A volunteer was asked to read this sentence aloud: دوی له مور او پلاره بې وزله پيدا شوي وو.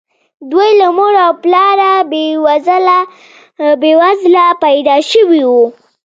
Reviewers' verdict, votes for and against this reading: accepted, 2, 0